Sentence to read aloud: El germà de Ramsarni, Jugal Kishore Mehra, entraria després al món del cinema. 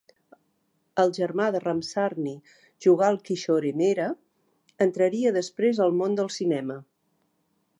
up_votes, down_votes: 2, 1